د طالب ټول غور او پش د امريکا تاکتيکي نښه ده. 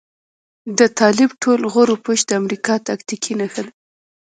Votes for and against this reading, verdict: 1, 2, rejected